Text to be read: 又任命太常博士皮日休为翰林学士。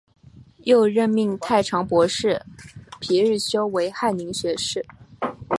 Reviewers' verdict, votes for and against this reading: accepted, 2, 1